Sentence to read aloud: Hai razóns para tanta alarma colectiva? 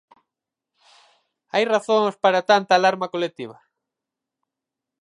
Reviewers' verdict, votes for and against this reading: accepted, 4, 0